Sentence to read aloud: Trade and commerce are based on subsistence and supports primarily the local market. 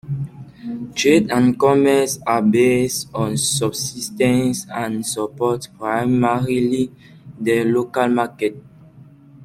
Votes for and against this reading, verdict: 2, 0, accepted